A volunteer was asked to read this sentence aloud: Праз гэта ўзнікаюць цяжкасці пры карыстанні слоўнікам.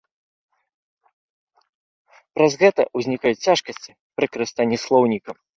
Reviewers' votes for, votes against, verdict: 2, 0, accepted